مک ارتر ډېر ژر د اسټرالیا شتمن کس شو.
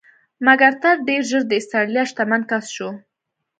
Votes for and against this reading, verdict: 2, 0, accepted